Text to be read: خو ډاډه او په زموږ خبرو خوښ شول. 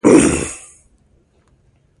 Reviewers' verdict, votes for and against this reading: rejected, 0, 2